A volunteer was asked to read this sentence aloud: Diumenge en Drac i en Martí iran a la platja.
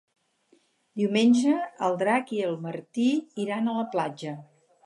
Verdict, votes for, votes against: rejected, 0, 4